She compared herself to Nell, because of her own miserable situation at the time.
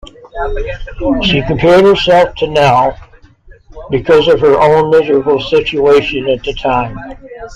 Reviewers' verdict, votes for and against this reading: accepted, 2, 0